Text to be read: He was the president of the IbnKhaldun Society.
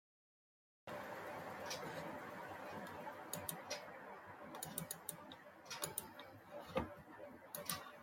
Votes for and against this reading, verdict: 0, 2, rejected